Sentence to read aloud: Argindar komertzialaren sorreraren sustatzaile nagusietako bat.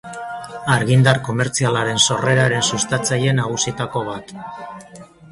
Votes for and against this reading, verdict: 0, 2, rejected